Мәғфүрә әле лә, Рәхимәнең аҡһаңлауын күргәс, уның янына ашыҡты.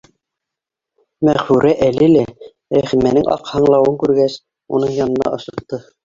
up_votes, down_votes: 2, 1